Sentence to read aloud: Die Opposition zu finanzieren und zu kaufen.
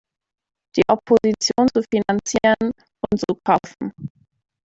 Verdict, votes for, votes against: rejected, 1, 2